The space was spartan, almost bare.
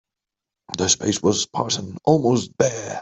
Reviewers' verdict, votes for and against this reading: accepted, 3, 0